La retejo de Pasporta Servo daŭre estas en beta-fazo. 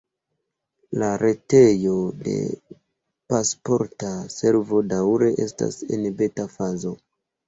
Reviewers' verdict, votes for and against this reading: rejected, 0, 3